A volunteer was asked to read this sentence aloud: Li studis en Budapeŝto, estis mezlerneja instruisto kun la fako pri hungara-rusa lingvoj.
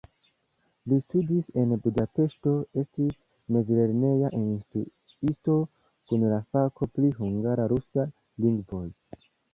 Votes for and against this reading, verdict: 1, 2, rejected